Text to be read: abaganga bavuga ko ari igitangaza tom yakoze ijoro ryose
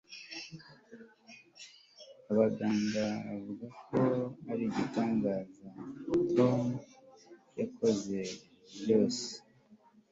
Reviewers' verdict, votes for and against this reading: accepted, 2, 1